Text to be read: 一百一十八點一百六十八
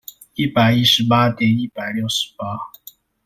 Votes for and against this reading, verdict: 2, 0, accepted